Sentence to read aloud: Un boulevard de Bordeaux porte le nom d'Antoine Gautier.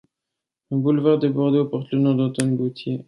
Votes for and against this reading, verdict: 2, 0, accepted